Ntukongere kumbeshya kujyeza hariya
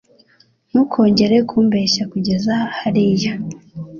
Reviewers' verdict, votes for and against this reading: accepted, 2, 0